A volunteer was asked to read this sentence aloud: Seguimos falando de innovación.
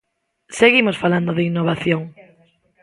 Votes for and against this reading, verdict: 1, 2, rejected